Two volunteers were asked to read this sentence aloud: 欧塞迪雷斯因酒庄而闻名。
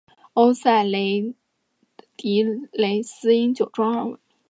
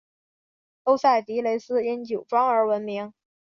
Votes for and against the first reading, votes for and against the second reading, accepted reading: 0, 2, 2, 0, second